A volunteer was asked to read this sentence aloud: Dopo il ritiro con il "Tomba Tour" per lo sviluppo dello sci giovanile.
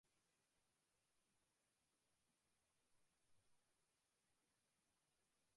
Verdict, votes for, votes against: rejected, 0, 2